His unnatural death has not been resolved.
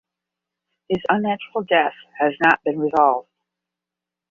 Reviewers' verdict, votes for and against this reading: accepted, 15, 0